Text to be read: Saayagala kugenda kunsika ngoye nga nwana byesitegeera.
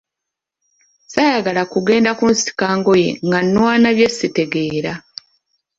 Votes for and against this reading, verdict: 2, 0, accepted